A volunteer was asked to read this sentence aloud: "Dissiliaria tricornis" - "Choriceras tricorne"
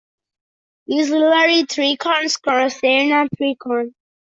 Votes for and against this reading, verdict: 0, 2, rejected